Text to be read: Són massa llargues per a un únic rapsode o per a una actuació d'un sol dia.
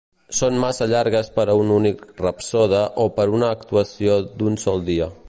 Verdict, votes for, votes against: accepted, 2, 0